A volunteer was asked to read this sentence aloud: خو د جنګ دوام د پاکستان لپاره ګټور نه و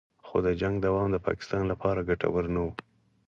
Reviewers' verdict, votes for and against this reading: accepted, 4, 0